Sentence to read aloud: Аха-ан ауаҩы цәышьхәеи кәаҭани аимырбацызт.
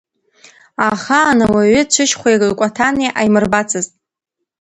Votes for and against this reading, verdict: 1, 2, rejected